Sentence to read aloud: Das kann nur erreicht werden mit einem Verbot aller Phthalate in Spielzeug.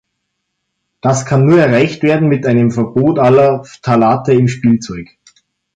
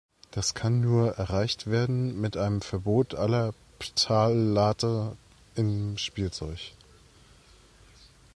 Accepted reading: first